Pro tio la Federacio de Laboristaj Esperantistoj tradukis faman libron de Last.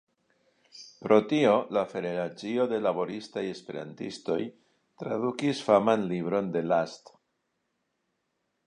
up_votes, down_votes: 2, 1